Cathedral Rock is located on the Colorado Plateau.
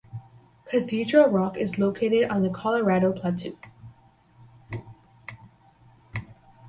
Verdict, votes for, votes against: rejected, 2, 2